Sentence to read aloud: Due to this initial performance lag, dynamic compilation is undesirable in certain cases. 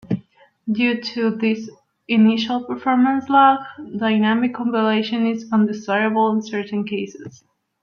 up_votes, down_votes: 2, 1